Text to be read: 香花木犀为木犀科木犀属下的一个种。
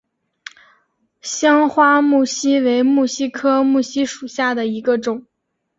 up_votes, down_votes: 4, 0